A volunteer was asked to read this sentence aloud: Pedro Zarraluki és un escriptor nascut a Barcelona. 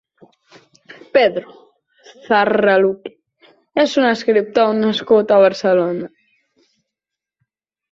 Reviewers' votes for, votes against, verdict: 2, 1, accepted